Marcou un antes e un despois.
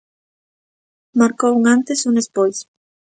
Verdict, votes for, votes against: accepted, 2, 0